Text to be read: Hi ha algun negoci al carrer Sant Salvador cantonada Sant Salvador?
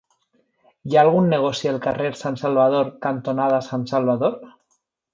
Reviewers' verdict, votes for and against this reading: rejected, 1, 2